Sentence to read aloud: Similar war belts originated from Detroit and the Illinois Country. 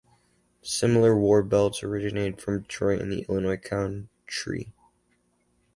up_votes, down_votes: 2, 4